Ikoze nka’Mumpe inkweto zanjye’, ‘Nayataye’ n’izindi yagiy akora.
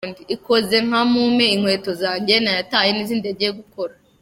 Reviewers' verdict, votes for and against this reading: rejected, 1, 2